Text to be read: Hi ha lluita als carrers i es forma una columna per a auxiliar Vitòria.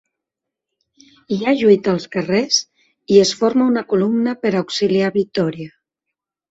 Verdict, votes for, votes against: accepted, 2, 0